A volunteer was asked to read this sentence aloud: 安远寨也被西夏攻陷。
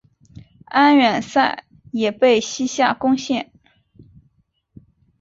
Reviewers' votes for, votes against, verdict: 0, 3, rejected